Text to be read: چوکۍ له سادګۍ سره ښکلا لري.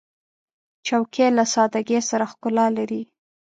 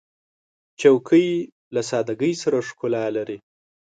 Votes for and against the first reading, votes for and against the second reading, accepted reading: 0, 2, 2, 0, second